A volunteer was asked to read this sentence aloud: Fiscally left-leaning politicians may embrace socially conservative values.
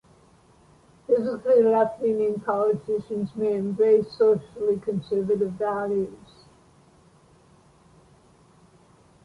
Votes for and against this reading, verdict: 0, 2, rejected